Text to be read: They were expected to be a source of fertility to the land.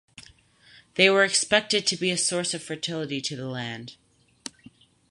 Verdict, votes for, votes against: accepted, 4, 0